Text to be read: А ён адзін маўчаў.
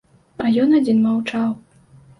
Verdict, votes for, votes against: accepted, 2, 0